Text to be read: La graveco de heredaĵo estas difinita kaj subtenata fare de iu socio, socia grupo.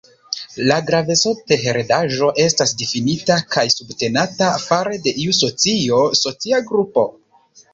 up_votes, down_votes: 0, 3